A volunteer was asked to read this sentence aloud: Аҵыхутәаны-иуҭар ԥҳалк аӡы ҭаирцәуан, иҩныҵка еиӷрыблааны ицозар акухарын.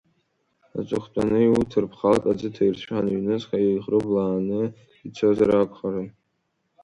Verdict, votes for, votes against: rejected, 1, 2